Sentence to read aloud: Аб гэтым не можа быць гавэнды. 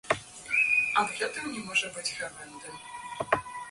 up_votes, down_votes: 2, 0